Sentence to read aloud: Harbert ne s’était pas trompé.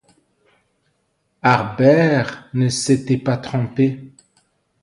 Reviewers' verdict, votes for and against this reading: accepted, 2, 0